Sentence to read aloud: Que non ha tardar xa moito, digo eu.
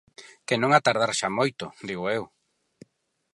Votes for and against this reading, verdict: 6, 0, accepted